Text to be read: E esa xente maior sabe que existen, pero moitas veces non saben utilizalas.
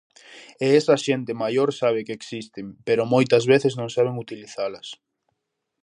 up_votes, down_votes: 2, 0